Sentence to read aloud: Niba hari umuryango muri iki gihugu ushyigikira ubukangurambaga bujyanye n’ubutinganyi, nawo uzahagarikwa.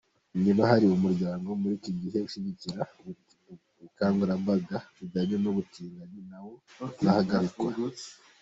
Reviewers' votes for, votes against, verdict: 0, 2, rejected